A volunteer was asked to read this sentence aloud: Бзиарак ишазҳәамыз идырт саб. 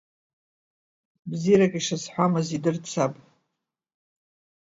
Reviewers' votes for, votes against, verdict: 2, 0, accepted